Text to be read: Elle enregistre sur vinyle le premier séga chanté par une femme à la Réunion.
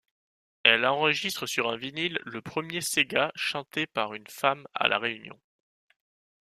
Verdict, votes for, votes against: rejected, 1, 2